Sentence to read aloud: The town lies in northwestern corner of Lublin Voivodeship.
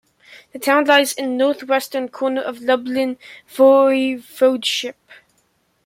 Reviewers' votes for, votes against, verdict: 0, 2, rejected